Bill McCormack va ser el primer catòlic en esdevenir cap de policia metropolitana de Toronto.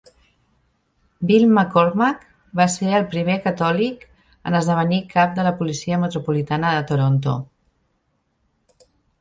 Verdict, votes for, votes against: rejected, 1, 2